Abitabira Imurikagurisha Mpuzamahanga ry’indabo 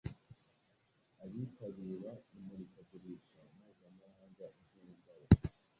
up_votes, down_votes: 1, 2